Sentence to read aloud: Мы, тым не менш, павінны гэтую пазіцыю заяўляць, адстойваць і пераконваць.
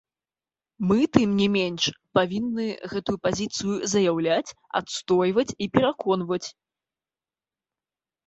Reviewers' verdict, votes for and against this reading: accepted, 2, 0